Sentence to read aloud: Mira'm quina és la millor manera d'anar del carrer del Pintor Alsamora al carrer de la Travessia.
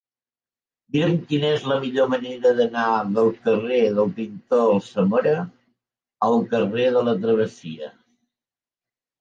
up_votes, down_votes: 2, 0